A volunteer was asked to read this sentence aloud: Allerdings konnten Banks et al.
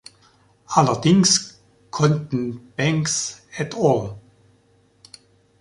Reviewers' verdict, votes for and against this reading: rejected, 1, 2